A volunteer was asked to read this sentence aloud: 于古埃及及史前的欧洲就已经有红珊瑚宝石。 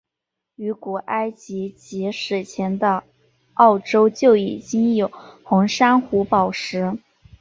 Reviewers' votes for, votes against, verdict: 2, 0, accepted